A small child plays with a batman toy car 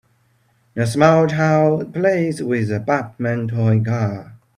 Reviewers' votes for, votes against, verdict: 2, 0, accepted